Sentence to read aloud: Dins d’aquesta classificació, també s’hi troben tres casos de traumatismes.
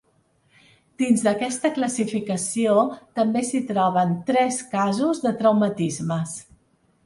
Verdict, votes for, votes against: accepted, 3, 0